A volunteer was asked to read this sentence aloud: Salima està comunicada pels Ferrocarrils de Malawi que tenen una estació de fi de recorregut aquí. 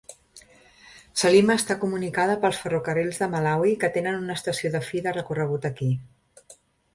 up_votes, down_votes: 2, 0